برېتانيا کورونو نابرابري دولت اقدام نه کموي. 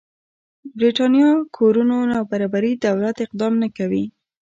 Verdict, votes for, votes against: rejected, 0, 2